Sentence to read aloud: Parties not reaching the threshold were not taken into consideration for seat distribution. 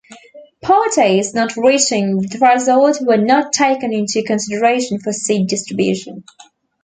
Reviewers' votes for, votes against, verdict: 2, 0, accepted